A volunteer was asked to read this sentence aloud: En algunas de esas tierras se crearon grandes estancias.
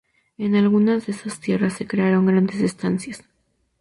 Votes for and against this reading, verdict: 2, 0, accepted